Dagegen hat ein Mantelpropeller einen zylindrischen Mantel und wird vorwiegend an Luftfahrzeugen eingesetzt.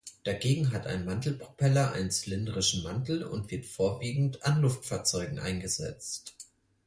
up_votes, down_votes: 6, 0